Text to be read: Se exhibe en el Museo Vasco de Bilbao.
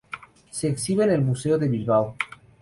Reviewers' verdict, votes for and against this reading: accepted, 2, 0